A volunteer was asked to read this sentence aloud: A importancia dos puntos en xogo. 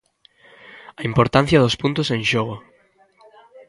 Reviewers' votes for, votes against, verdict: 1, 2, rejected